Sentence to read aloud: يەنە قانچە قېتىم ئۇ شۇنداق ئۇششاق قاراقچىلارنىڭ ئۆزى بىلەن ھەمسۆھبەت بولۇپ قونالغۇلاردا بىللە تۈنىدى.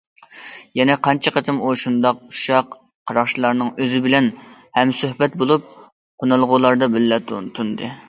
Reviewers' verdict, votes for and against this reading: rejected, 0, 2